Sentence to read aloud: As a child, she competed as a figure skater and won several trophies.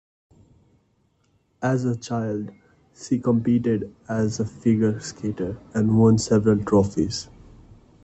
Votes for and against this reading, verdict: 2, 0, accepted